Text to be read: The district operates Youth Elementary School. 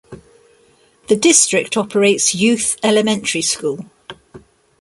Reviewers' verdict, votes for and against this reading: accepted, 2, 0